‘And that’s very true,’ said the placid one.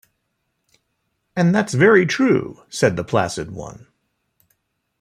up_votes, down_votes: 1, 2